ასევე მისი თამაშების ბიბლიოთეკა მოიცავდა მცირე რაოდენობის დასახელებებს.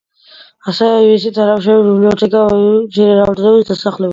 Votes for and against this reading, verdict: 0, 2, rejected